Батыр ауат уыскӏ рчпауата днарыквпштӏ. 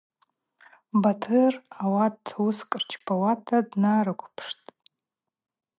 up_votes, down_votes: 2, 0